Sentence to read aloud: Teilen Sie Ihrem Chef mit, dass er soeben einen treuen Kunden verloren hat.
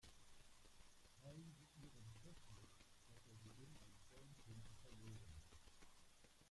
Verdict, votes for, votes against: rejected, 0, 2